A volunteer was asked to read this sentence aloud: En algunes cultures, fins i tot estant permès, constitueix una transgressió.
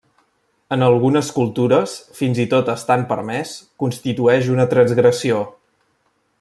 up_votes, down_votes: 3, 0